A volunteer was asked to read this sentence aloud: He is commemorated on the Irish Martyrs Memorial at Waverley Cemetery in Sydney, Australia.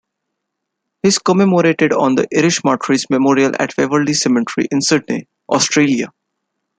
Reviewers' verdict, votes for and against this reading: rejected, 0, 2